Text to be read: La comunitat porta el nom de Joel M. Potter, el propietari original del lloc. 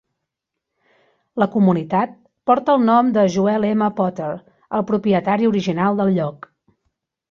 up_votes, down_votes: 2, 0